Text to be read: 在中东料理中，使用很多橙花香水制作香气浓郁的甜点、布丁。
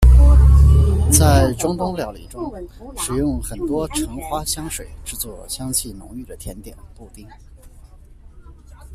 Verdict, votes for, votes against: rejected, 0, 2